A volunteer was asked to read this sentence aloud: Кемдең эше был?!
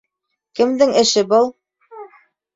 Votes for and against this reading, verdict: 2, 0, accepted